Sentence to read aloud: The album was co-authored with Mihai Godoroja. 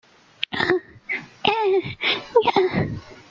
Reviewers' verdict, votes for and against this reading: rejected, 0, 2